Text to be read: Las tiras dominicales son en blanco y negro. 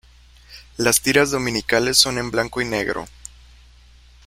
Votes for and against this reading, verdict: 2, 0, accepted